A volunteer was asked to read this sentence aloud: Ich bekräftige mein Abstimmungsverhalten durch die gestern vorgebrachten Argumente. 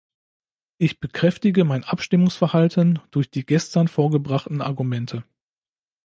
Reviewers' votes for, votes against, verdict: 2, 0, accepted